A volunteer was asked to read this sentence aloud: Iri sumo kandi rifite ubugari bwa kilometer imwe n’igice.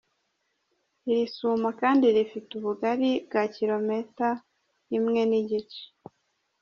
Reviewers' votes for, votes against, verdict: 0, 2, rejected